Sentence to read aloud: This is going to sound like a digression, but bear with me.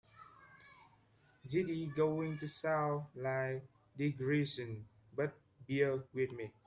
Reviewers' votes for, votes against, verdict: 0, 2, rejected